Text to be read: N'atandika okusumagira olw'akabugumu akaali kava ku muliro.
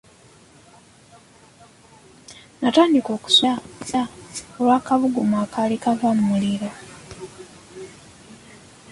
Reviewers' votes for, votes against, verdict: 0, 2, rejected